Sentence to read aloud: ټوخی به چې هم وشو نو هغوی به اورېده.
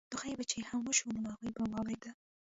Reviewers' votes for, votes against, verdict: 1, 2, rejected